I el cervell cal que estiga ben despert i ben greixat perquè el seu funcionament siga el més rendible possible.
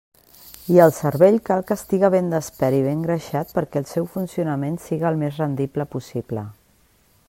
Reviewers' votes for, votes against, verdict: 2, 0, accepted